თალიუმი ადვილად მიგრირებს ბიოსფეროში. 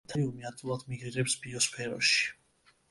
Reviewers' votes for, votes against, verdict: 1, 2, rejected